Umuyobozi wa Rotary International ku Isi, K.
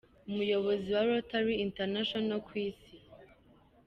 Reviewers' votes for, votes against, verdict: 1, 2, rejected